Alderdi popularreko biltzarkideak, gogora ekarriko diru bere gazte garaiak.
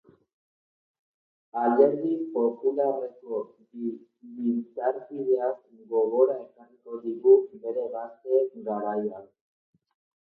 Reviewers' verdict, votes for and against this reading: rejected, 0, 2